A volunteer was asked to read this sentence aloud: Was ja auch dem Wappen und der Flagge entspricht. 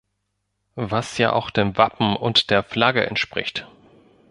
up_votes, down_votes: 2, 0